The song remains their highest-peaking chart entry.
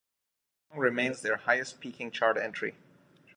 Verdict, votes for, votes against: rejected, 1, 2